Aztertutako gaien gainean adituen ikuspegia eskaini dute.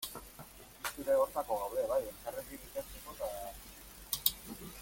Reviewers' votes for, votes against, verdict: 0, 2, rejected